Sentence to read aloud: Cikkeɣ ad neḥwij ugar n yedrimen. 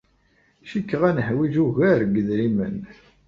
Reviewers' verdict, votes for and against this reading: accepted, 2, 0